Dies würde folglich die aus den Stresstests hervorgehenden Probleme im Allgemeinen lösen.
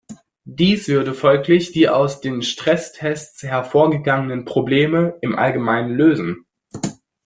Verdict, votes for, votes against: rejected, 1, 2